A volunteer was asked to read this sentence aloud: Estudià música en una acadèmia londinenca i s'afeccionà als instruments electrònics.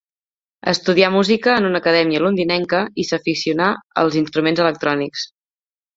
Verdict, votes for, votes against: rejected, 0, 2